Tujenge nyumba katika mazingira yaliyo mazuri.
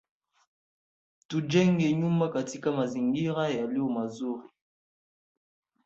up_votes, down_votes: 3, 1